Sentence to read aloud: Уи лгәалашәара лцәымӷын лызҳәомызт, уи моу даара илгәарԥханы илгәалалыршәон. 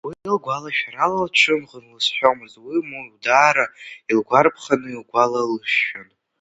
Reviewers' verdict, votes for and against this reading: accepted, 3, 1